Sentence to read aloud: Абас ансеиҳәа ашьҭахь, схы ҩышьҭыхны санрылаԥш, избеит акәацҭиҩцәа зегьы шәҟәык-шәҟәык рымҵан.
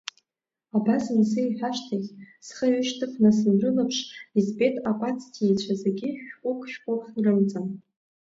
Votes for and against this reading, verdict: 2, 0, accepted